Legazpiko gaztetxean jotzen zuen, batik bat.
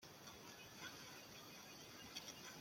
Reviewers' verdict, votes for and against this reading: rejected, 0, 2